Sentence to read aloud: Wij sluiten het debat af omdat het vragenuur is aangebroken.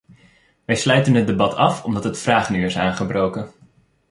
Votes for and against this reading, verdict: 2, 0, accepted